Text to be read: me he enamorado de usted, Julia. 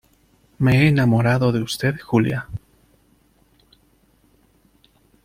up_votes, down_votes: 2, 0